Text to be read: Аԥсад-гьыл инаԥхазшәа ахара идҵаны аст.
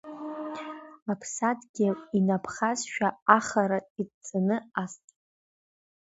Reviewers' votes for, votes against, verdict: 2, 0, accepted